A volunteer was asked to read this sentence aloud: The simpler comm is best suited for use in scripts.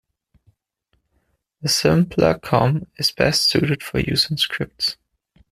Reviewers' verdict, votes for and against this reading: rejected, 0, 2